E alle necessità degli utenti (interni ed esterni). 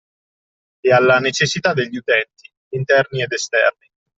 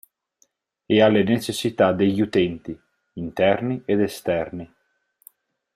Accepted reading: second